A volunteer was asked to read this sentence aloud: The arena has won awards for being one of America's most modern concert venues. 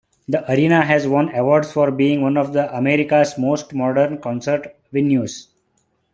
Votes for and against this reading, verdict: 2, 0, accepted